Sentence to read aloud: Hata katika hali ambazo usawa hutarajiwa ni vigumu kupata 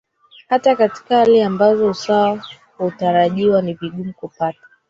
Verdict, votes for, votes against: rejected, 1, 3